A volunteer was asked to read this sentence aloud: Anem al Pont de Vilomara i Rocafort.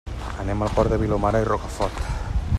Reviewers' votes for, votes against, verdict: 1, 2, rejected